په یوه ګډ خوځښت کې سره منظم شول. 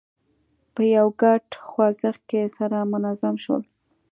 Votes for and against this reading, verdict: 2, 0, accepted